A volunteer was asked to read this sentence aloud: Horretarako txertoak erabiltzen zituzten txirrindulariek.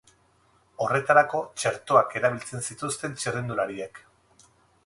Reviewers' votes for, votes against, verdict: 0, 2, rejected